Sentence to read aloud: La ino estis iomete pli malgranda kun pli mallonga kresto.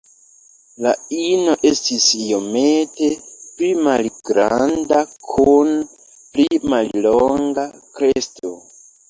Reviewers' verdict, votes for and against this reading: accepted, 2, 0